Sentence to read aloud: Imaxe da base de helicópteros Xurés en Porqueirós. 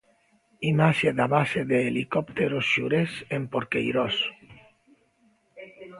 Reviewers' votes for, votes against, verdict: 2, 0, accepted